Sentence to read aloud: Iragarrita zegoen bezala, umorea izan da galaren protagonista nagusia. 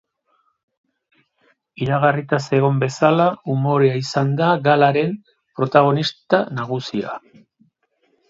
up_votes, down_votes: 0, 2